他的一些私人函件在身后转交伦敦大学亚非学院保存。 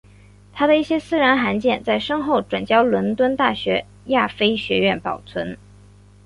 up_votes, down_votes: 4, 0